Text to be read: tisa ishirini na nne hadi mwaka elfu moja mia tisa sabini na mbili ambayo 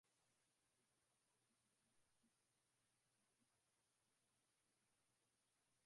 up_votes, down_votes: 1, 3